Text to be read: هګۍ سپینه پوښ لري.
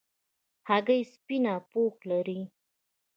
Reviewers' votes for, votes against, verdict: 2, 0, accepted